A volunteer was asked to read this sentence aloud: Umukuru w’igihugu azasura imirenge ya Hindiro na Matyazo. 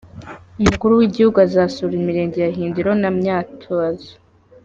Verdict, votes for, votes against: rejected, 1, 2